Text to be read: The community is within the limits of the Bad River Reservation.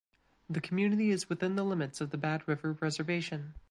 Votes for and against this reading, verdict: 2, 0, accepted